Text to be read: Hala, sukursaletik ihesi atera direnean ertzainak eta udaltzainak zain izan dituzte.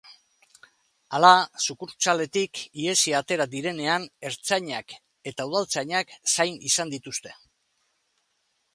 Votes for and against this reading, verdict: 2, 0, accepted